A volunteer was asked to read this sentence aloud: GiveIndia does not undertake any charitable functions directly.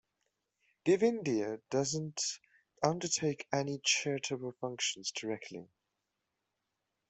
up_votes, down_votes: 0, 2